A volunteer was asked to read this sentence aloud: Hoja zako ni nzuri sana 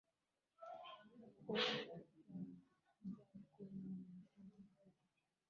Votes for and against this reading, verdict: 4, 13, rejected